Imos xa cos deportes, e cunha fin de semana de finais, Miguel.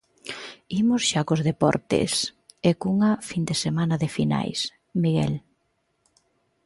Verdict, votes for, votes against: accepted, 2, 1